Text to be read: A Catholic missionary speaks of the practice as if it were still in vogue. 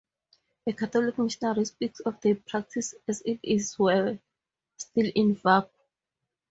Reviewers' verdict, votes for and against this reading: rejected, 0, 4